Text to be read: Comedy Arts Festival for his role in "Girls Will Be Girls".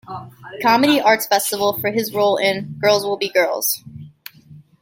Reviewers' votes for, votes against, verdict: 0, 2, rejected